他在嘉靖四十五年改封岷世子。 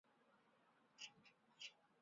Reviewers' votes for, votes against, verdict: 0, 2, rejected